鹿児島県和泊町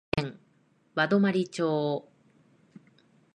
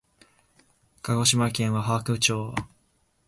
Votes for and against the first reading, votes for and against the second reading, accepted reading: 1, 2, 13, 1, second